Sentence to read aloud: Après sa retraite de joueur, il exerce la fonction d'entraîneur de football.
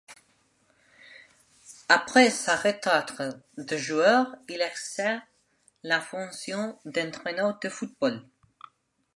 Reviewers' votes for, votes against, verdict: 0, 2, rejected